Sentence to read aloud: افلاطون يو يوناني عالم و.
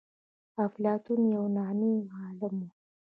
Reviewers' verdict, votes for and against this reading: accepted, 3, 0